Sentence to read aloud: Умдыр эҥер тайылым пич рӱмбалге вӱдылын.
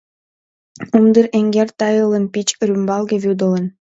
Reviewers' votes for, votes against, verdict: 0, 2, rejected